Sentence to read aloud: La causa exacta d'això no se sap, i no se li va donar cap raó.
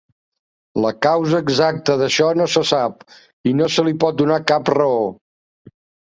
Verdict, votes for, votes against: rejected, 0, 2